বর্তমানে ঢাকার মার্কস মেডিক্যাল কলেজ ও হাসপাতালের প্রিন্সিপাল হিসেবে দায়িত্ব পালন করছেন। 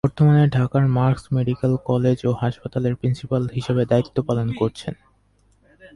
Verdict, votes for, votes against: rejected, 0, 2